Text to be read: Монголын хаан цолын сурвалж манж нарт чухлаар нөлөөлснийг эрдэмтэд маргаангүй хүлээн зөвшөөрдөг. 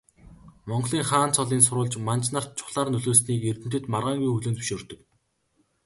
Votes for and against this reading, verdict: 2, 0, accepted